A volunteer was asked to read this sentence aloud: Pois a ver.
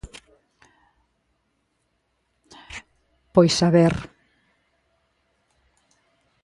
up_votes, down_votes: 2, 0